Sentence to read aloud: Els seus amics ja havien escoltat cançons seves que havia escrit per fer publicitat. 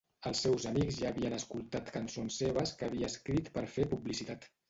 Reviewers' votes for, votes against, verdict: 1, 2, rejected